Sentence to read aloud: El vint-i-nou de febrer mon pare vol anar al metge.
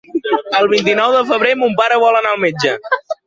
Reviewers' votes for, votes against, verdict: 1, 2, rejected